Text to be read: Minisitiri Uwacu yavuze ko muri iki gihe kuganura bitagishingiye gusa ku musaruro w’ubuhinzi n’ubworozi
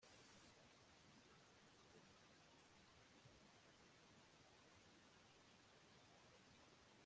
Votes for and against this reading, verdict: 1, 2, rejected